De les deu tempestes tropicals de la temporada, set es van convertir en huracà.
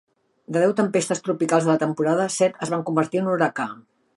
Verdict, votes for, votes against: rejected, 1, 2